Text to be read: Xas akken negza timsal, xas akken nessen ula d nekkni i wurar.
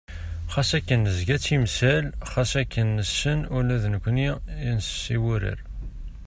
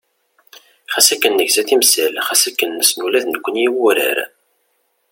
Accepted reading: second